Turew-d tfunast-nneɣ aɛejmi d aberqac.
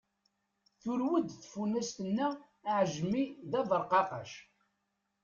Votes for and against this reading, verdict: 0, 2, rejected